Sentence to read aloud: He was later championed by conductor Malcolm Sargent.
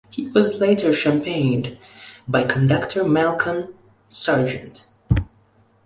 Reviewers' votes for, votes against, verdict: 2, 1, accepted